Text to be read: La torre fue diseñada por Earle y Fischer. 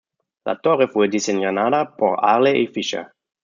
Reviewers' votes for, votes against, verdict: 1, 2, rejected